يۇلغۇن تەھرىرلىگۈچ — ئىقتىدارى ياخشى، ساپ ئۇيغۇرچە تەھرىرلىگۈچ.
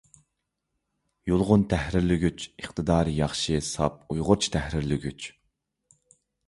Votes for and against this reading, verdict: 2, 0, accepted